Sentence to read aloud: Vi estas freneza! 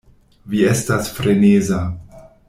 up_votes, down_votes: 2, 0